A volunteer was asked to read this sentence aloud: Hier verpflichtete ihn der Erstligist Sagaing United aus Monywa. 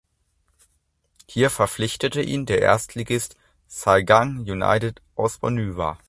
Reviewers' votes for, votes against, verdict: 1, 2, rejected